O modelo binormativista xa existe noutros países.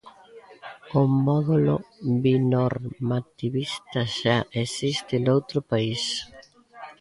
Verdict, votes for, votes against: rejected, 0, 2